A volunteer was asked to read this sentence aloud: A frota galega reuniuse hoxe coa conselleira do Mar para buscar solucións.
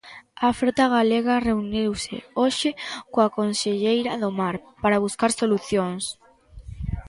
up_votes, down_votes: 2, 0